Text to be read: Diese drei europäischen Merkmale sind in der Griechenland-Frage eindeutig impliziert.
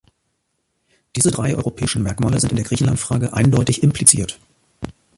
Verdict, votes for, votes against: accepted, 2, 0